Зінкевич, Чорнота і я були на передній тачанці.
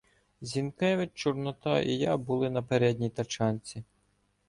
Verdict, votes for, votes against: accepted, 2, 0